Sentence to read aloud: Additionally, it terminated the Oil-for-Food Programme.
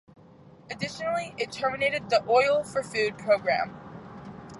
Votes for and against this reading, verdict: 0, 2, rejected